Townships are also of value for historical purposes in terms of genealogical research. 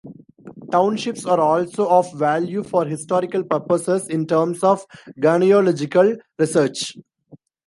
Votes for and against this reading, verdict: 0, 2, rejected